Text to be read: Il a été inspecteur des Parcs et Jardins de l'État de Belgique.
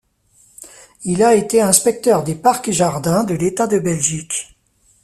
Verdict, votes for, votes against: accepted, 2, 0